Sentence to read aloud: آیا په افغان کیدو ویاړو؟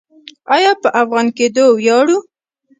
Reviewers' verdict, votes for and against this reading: rejected, 0, 2